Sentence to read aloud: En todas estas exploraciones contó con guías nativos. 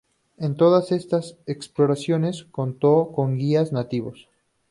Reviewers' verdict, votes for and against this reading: accepted, 2, 0